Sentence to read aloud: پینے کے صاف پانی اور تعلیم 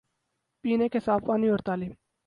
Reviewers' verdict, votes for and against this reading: accepted, 2, 0